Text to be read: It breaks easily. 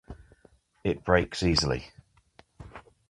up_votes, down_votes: 2, 0